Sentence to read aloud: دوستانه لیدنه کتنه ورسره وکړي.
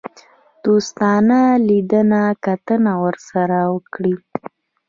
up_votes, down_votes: 2, 0